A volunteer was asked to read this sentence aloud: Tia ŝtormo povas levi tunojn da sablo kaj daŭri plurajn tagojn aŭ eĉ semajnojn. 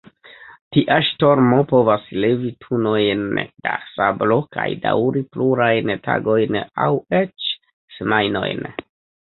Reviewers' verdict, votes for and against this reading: rejected, 1, 2